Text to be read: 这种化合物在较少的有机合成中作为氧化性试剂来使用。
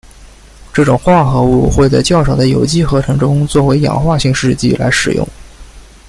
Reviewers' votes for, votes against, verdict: 1, 2, rejected